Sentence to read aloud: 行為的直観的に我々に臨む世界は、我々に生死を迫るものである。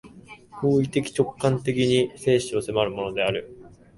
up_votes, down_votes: 0, 4